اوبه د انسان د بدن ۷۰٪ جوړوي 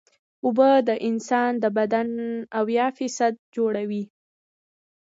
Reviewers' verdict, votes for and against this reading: rejected, 0, 2